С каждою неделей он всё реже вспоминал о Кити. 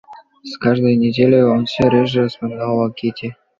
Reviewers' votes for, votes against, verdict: 2, 0, accepted